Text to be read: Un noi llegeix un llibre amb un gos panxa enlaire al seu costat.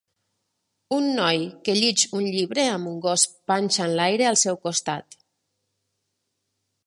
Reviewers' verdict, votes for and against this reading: rejected, 0, 2